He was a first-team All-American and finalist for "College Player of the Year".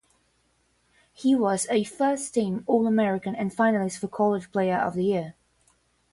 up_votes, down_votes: 10, 0